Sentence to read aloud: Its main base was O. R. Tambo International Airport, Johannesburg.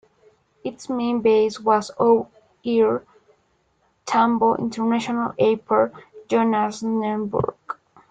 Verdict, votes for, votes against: rejected, 0, 2